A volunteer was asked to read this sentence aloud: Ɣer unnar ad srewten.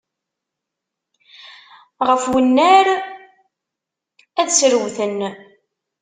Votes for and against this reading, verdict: 0, 2, rejected